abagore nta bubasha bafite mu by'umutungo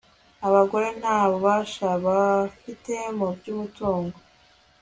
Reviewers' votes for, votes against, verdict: 2, 0, accepted